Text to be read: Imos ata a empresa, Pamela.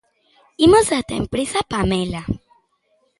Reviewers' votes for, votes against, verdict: 3, 0, accepted